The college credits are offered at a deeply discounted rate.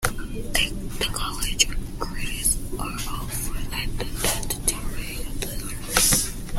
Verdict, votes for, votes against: rejected, 0, 2